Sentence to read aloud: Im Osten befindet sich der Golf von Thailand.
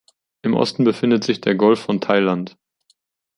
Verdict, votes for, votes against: accepted, 3, 0